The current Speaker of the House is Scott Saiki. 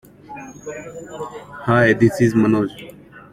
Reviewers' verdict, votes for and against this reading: rejected, 0, 2